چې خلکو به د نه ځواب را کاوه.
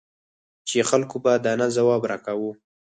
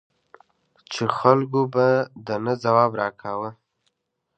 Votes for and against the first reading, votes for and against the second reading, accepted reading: 0, 4, 2, 0, second